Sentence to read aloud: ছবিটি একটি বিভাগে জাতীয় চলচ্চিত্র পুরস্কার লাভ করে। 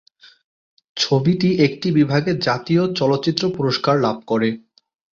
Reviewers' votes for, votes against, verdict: 2, 0, accepted